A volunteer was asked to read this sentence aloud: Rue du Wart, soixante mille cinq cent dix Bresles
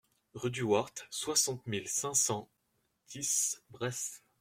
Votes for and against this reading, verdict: 0, 2, rejected